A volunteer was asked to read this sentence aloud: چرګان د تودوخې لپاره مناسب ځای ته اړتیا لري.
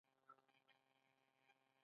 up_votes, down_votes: 0, 2